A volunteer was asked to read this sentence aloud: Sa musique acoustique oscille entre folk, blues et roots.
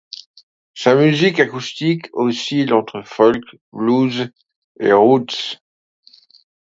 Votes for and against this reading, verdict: 2, 0, accepted